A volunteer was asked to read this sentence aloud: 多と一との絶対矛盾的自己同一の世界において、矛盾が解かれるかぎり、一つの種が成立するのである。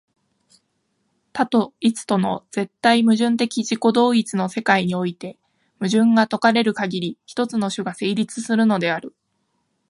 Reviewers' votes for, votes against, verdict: 3, 1, accepted